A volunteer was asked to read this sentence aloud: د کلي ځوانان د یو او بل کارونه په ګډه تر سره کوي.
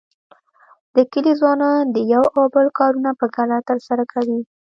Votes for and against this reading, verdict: 1, 2, rejected